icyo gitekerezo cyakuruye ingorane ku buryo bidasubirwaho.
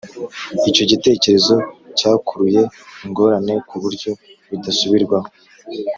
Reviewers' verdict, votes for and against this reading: accepted, 3, 0